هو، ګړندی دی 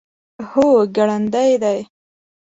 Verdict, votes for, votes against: accepted, 2, 0